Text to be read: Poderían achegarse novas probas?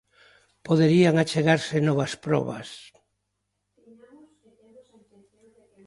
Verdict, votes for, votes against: accepted, 2, 0